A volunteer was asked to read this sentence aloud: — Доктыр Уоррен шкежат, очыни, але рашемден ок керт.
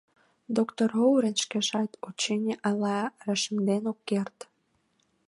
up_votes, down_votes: 1, 2